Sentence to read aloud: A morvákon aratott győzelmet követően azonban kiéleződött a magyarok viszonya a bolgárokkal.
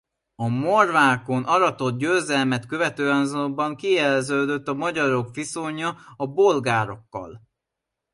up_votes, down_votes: 2, 0